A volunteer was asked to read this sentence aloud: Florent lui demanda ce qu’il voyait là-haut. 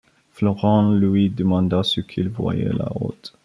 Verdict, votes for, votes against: rejected, 1, 2